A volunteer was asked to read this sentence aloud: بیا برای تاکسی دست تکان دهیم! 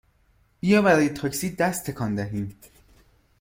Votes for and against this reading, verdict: 2, 0, accepted